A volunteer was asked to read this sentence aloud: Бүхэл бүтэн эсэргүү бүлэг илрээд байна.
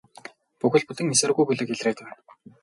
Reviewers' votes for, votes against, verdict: 2, 2, rejected